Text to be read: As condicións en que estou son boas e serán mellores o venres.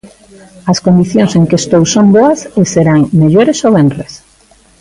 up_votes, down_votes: 2, 0